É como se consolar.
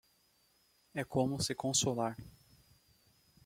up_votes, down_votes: 2, 0